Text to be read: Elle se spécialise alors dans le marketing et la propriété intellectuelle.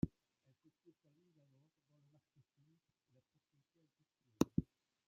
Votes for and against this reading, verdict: 0, 2, rejected